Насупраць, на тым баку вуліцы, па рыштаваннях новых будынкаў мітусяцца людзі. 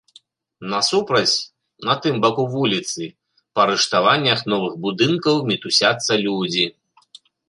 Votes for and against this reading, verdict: 2, 0, accepted